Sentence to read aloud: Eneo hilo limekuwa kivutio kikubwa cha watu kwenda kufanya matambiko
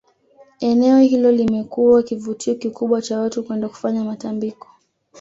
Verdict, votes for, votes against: accepted, 2, 0